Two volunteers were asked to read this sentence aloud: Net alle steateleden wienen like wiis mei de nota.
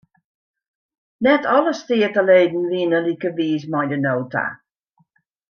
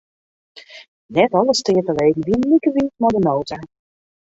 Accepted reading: first